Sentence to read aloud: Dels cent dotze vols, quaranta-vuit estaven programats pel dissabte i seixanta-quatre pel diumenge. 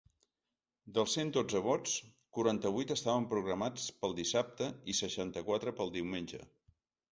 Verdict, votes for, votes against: rejected, 0, 2